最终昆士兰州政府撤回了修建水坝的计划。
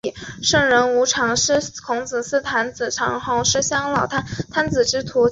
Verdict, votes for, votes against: rejected, 0, 2